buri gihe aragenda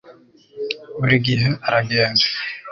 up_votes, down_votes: 1, 2